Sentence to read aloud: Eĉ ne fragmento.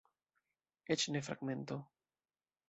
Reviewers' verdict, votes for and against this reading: accepted, 2, 0